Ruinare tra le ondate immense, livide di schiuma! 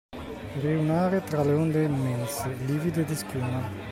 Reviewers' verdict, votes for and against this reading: rejected, 0, 2